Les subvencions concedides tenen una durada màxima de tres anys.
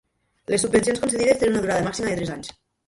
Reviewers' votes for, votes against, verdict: 2, 0, accepted